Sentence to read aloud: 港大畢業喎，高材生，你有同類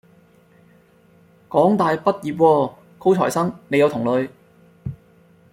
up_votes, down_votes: 2, 0